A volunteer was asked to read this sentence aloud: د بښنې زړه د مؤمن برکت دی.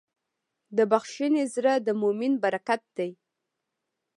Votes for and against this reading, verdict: 2, 0, accepted